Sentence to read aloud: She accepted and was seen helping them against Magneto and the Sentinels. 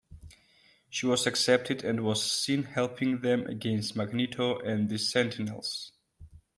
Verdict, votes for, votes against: accepted, 2, 0